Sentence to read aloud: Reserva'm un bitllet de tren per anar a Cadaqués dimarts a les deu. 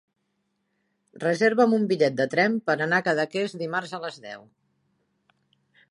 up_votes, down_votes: 3, 0